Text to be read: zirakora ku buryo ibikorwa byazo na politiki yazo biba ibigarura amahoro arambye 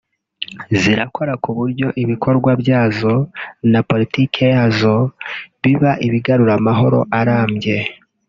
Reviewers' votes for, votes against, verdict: 4, 1, accepted